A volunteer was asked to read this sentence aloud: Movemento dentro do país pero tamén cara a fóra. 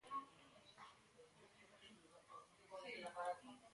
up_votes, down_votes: 0, 2